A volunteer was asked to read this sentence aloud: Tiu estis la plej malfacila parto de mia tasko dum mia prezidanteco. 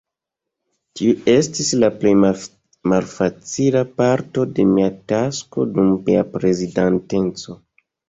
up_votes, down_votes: 1, 2